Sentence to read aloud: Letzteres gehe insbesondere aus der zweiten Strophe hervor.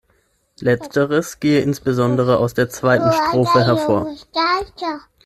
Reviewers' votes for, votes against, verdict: 0, 6, rejected